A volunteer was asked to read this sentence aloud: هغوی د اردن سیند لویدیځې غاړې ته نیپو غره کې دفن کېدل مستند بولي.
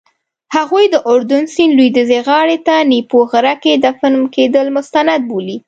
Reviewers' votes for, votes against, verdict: 3, 0, accepted